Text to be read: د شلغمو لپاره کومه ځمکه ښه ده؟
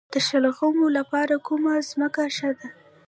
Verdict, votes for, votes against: rejected, 1, 2